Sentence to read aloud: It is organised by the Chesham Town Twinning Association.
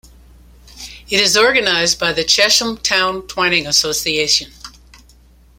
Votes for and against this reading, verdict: 1, 2, rejected